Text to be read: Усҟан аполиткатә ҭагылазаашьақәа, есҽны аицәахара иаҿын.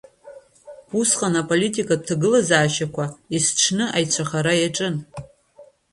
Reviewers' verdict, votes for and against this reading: rejected, 1, 2